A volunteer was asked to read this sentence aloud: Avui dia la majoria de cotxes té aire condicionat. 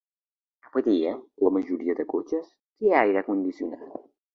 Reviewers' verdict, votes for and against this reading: rejected, 0, 3